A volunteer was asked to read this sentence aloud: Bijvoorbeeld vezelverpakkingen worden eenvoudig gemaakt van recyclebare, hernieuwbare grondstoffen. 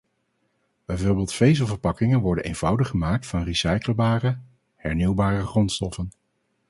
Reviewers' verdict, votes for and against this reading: rejected, 2, 2